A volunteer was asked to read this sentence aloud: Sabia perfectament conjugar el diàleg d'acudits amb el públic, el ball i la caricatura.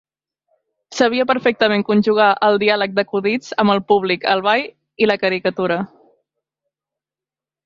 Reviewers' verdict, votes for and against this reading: accepted, 2, 0